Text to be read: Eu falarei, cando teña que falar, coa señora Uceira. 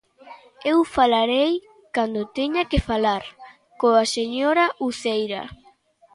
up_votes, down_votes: 2, 0